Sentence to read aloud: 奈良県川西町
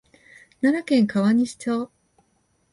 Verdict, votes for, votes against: accepted, 3, 0